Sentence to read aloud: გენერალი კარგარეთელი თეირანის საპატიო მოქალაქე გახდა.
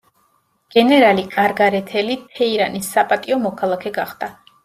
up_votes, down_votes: 2, 0